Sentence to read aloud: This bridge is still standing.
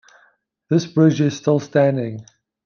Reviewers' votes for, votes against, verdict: 2, 0, accepted